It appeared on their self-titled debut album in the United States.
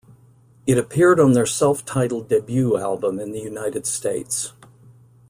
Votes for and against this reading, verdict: 2, 0, accepted